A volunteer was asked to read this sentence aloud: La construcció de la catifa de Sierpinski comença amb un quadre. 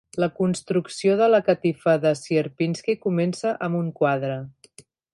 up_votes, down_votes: 3, 0